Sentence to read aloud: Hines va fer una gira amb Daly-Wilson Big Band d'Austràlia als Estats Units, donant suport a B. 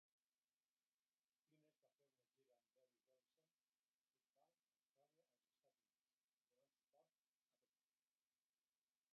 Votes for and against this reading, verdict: 0, 4, rejected